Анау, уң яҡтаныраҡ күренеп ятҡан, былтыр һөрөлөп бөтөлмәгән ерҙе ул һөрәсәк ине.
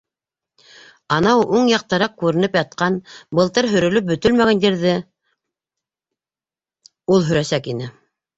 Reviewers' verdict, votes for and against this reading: accepted, 2, 0